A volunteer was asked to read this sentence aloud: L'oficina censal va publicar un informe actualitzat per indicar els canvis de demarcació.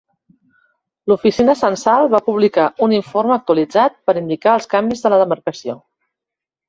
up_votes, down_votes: 0, 2